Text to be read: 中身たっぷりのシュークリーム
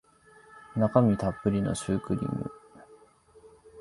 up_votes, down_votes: 2, 0